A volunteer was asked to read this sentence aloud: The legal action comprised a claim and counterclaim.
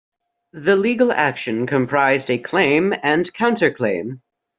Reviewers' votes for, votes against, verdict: 2, 0, accepted